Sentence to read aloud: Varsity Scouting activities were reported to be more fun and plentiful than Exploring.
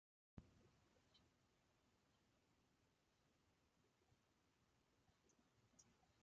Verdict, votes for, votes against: rejected, 0, 2